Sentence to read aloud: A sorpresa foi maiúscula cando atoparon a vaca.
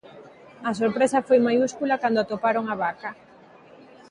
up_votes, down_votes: 2, 0